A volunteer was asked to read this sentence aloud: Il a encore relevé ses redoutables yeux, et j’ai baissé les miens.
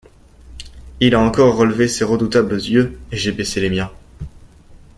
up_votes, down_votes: 2, 0